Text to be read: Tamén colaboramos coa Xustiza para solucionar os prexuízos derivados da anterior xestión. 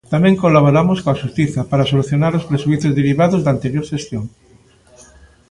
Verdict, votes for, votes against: rejected, 0, 2